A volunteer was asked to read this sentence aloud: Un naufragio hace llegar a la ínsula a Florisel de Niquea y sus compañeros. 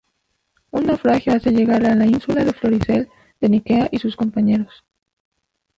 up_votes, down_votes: 0, 4